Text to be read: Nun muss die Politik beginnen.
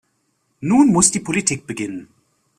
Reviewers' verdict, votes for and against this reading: accepted, 2, 0